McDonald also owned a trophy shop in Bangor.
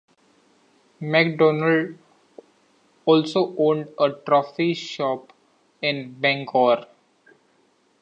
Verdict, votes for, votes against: accepted, 2, 1